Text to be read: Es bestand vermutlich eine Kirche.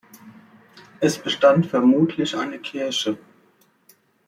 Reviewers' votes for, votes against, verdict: 3, 1, accepted